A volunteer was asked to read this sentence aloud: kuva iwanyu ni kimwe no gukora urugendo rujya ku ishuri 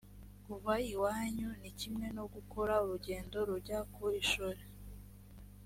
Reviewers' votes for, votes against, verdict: 2, 0, accepted